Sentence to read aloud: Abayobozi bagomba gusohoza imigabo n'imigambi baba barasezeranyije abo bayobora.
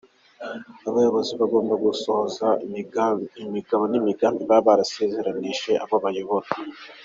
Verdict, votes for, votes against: rejected, 1, 2